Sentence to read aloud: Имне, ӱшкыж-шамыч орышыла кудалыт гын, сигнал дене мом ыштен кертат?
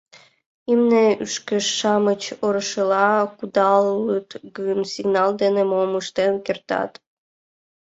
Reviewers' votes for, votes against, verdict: 2, 1, accepted